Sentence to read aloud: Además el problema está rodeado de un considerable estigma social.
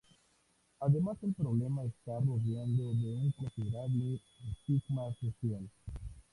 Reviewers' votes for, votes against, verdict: 2, 0, accepted